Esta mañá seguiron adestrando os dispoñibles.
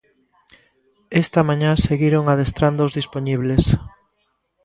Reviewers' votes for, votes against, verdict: 2, 0, accepted